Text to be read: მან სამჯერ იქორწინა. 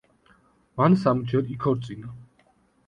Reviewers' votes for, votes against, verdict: 2, 0, accepted